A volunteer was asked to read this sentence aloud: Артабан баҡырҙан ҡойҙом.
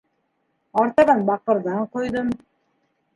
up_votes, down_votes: 2, 0